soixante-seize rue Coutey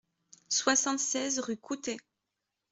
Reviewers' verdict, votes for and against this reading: accepted, 2, 0